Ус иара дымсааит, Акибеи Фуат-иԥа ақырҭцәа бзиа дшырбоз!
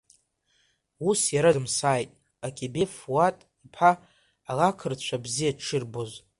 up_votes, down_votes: 3, 2